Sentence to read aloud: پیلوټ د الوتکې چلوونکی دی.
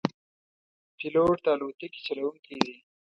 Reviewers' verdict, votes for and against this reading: accepted, 2, 0